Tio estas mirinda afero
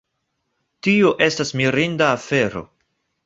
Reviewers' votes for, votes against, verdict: 1, 2, rejected